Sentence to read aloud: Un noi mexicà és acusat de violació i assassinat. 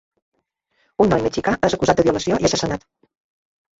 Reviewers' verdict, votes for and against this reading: accepted, 2, 0